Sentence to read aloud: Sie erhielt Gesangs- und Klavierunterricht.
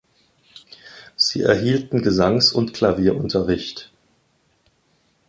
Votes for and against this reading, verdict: 1, 2, rejected